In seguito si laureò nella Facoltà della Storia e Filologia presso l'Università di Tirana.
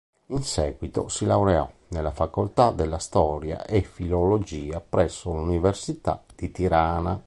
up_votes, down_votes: 2, 0